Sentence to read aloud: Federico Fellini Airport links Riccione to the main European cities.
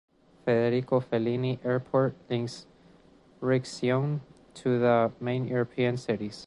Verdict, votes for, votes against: rejected, 1, 2